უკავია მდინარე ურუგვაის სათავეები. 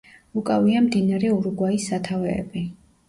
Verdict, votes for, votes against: accepted, 2, 0